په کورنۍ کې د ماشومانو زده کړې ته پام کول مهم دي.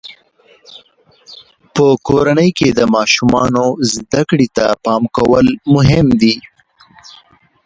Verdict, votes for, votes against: rejected, 1, 2